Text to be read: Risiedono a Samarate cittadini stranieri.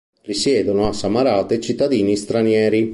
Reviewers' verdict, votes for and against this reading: accepted, 3, 1